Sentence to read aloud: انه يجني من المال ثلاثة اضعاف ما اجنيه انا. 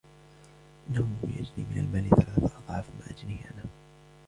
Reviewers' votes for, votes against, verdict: 2, 3, rejected